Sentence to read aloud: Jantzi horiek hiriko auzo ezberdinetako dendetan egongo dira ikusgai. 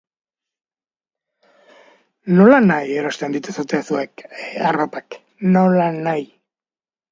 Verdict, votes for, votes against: rejected, 0, 2